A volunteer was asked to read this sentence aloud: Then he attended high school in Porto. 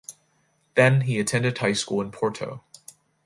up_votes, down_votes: 2, 0